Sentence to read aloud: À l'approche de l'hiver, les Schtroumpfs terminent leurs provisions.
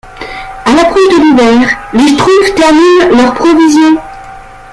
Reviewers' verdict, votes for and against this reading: rejected, 1, 2